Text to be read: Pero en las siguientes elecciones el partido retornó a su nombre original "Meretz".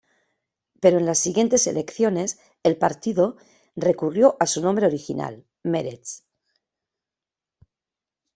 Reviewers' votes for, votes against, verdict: 0, 2, rejected